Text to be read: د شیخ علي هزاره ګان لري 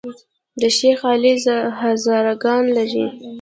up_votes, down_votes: 2, 0